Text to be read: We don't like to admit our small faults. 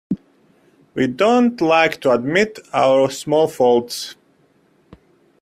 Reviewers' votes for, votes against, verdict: 2, 0, accepted